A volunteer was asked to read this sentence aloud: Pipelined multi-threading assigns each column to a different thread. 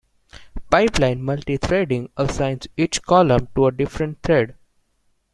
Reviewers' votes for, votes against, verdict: 1, 2, rejected